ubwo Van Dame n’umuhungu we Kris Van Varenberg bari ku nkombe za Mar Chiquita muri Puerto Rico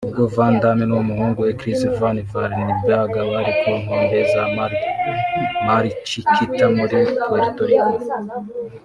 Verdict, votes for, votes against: rejected, 1, 2